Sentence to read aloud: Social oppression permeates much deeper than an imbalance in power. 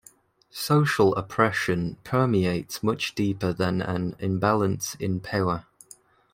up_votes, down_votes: 2, 0